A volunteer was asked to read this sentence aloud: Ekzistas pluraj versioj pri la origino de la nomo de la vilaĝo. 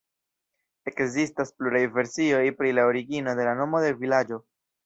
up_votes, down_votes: 1, 2